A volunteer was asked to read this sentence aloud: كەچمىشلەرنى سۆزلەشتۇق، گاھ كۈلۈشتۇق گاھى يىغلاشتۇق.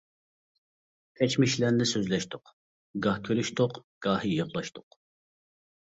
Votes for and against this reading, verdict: 1, 2, rejected